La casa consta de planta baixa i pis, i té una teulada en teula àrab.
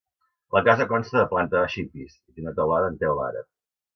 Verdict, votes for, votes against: rejected, 0, 2